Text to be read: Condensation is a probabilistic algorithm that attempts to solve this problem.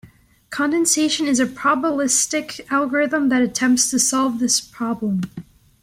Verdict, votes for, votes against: accepted, 2, 0